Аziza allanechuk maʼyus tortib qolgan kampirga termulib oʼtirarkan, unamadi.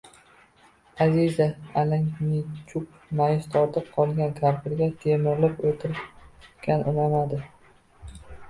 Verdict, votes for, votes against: rejected, 0, 2